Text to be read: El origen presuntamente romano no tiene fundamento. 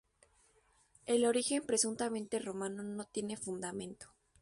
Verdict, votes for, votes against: accepted, 2, 0